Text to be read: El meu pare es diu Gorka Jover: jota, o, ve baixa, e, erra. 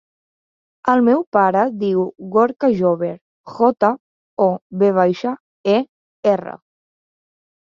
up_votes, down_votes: 0, 2